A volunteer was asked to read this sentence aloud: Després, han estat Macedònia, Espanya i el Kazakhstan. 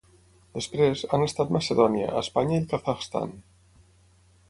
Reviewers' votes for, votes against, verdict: 6, 0, accepted